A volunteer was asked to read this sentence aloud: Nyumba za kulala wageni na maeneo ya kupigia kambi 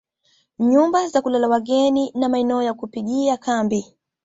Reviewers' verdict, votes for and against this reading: accepted, 2, 0